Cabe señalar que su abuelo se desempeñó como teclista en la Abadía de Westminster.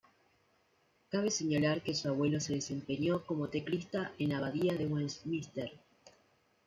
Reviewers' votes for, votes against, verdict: 2, 1, accepted